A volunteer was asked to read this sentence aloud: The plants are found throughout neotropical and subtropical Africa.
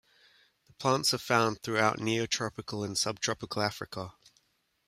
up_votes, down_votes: 2, 1